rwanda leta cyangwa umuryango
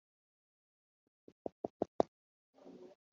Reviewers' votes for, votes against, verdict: 0, 2, rejected